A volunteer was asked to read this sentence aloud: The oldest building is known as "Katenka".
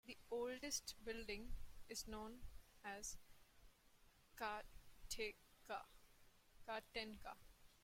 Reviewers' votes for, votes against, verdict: 0, 2, rejected